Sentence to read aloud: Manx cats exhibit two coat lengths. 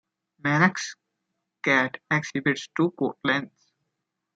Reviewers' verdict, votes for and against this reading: rejected, 1, 2